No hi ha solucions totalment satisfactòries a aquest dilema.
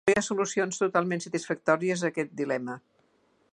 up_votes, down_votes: 0, 2